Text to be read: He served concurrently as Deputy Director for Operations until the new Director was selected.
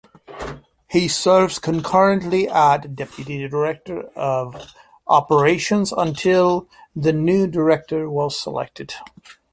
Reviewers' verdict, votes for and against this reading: rejected, 0, 2